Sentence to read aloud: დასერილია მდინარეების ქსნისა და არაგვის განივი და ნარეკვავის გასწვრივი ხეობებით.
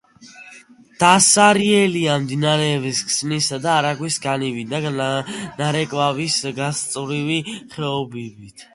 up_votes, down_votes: 0, 2